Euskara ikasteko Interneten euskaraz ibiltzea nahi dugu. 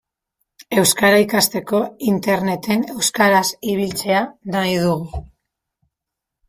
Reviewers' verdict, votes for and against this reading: rejected, 1, 2